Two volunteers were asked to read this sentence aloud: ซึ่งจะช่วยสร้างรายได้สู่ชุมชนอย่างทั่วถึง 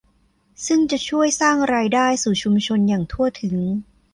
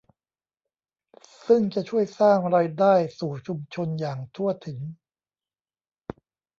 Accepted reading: first